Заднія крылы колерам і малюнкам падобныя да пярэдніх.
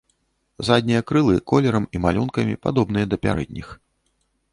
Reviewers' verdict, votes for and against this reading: rejected, 0, 2